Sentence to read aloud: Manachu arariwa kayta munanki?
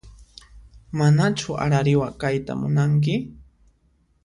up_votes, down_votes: 2, 0